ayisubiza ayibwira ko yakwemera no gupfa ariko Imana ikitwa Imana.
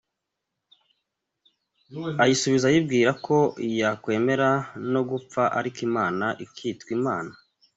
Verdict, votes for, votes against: accepted, 2, 0